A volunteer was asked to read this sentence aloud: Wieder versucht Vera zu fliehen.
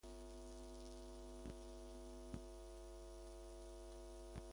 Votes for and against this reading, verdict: 0, 2, rejected